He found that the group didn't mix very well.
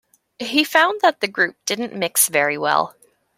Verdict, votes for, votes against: accepted, 2, 0